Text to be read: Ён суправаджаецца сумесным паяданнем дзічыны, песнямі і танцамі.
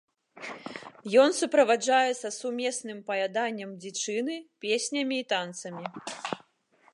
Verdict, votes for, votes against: accepted, 2, 0